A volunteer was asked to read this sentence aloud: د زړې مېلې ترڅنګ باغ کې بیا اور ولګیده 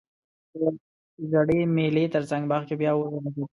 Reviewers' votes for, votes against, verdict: 2, 1, accepted